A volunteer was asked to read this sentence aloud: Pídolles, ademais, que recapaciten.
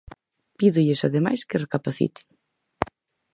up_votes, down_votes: 4, 0